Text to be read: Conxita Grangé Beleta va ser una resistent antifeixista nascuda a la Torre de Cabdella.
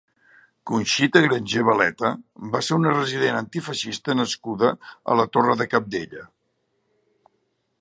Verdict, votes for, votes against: rejected, 0, 2